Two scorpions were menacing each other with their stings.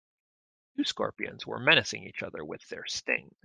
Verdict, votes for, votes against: rejected, 0, 2